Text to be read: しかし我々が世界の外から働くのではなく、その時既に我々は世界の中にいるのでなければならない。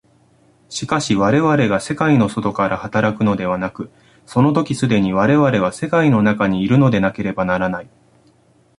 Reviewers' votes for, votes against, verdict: 1, 2, rejected